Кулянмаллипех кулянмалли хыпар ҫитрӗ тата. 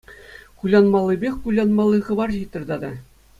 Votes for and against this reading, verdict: 2, 0, accepted